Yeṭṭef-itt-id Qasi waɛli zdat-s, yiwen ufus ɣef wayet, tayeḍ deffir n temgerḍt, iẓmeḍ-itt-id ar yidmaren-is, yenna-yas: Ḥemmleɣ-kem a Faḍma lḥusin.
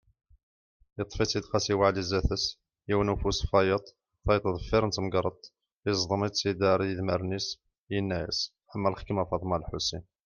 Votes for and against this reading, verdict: 1, 2, rejected